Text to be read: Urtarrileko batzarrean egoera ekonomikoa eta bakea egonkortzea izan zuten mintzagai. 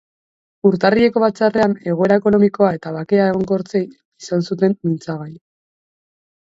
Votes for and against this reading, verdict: 0, 4, rejected